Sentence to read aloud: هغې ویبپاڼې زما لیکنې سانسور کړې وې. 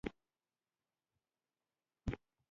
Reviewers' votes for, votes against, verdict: 1, 2, rejected